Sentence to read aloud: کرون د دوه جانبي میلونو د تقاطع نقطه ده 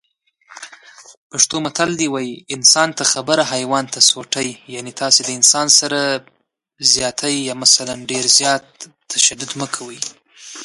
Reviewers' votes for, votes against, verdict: 0, 2, rejected